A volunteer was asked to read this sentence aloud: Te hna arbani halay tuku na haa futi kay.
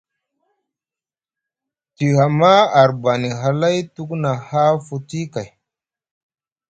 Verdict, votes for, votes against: rejected, 0, 2